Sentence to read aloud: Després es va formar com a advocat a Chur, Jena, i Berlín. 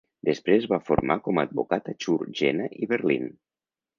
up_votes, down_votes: 1, 2